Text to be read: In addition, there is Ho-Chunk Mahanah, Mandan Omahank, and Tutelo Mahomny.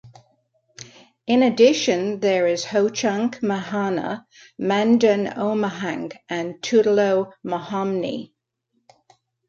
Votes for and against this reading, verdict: 2, 1, accepted